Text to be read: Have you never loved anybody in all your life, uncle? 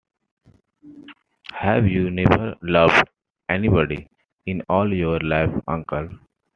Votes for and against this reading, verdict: 2, 1, accepted